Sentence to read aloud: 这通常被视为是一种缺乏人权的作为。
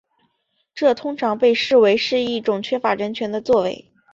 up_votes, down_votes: 2, 0